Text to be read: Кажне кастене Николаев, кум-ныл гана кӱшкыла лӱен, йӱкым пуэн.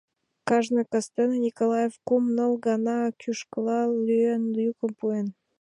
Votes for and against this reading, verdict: 2, 0, accepted